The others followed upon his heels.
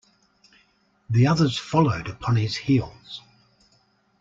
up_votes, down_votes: 2, 0